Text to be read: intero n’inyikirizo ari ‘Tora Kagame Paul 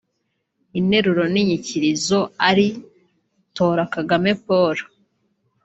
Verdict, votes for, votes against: rejected, 1, 2